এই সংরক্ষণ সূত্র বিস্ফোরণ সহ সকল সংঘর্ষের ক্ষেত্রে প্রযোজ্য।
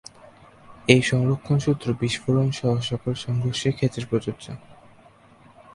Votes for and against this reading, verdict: 2, 0, accepted